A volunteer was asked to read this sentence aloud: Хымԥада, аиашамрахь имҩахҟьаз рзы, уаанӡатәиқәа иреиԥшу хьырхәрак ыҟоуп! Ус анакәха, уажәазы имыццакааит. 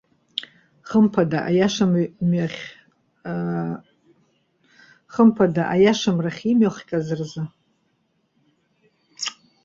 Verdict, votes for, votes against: rejected, 0, 2